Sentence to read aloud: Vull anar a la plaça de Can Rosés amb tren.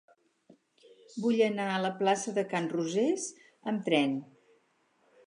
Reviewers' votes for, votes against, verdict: 4, 0, accepted